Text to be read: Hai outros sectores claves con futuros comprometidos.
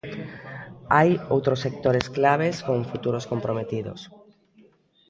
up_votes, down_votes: 2, 0